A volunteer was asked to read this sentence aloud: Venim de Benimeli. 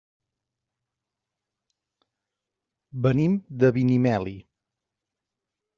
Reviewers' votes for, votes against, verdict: 0, 2, rejected